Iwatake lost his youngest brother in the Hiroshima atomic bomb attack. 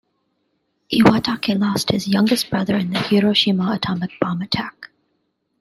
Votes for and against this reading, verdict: 2, 1, accepted